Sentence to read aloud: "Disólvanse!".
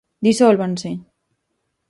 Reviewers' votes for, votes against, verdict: 4, 0, accepted